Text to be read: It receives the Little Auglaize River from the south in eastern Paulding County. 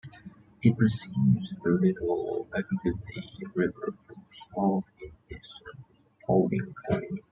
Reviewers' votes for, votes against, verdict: 0, 2, rejected